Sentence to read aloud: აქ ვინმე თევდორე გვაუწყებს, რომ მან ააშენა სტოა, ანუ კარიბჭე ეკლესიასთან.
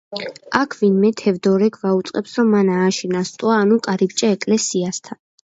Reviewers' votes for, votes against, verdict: 2, 0, accepted